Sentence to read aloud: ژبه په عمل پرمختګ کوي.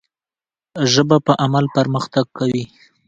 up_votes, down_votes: 2, 0